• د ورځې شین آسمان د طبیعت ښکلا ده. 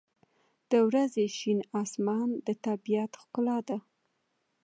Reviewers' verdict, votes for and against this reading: accepted, 2, 0